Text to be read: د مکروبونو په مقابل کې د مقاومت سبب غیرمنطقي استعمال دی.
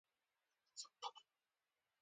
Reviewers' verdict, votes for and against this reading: rejected, 0, 2